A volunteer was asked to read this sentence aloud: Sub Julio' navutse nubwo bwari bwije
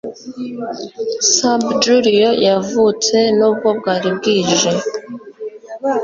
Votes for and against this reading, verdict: 1, 2, rejected